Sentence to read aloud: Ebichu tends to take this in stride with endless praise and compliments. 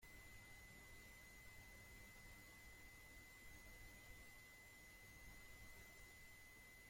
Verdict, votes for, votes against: rejected, 0, 2